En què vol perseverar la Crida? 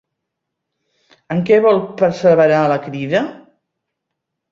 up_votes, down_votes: 2, 0